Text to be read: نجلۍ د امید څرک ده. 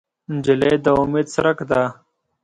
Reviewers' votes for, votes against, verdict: 2, 0, accepted